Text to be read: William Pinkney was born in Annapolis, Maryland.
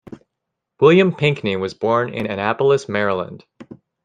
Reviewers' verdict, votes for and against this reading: accepted, 2, 0